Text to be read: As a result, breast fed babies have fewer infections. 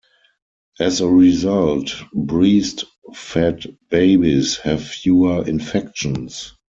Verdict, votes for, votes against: rejected, 2, 4